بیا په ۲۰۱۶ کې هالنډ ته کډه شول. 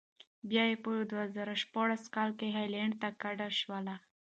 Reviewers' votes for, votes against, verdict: 0, 2, rejected